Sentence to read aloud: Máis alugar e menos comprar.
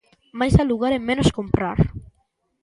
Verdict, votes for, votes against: accepted, 2, 0